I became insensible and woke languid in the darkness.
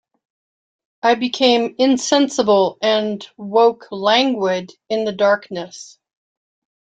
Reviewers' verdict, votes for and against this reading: accepted, 2, 0